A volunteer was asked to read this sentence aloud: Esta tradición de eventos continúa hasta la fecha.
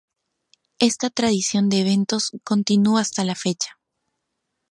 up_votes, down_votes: 0, 2